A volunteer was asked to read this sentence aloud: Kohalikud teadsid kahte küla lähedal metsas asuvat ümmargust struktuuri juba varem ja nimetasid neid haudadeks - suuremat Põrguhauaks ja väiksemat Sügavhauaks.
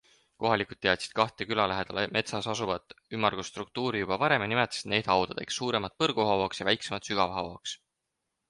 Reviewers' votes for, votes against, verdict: 4, 0, accepted